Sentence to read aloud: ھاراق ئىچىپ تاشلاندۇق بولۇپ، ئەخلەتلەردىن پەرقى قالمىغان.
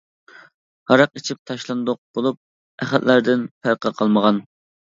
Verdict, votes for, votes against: accepted, 2, 1